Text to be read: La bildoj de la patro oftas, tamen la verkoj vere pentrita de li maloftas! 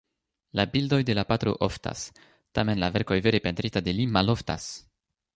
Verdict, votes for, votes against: accepted, 2, 1